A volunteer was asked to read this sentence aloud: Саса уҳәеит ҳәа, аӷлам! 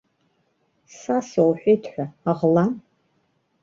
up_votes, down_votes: 1, 2